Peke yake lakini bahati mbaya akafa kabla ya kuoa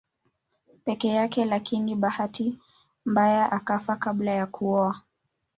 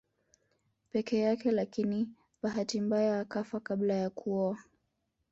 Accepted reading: first